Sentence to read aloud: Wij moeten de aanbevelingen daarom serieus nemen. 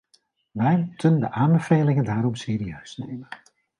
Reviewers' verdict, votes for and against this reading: rejected, 0, 2